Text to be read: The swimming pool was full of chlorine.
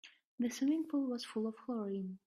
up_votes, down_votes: 1, 2